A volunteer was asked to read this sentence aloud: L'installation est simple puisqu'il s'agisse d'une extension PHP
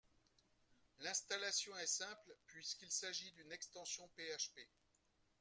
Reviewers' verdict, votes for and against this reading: rejected, 1, 2